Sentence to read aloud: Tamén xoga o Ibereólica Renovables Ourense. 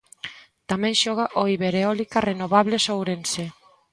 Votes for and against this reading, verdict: 2, 0, accepted